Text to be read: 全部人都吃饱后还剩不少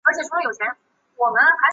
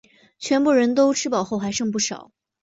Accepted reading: second